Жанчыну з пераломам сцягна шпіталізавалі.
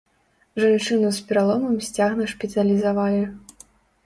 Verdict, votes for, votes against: rejected, 1, 2